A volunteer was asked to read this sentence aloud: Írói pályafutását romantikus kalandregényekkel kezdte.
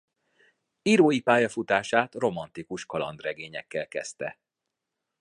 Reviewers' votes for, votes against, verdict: 2, 0, accepted